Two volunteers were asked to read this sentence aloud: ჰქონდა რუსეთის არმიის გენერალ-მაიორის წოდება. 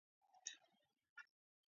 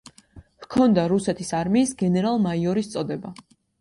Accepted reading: second